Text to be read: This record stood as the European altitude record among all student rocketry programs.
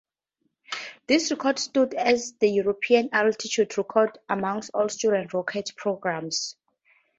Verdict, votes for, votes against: accepted, 2, 0